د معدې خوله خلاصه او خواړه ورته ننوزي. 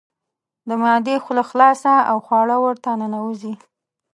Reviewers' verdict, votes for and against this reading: rejected, 0, 2